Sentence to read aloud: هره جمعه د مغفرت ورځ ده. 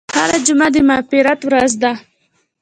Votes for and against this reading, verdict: 2, 1, accepted